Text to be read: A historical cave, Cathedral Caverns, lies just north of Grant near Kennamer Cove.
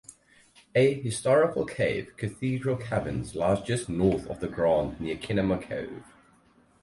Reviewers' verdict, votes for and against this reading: rejected, 0, 4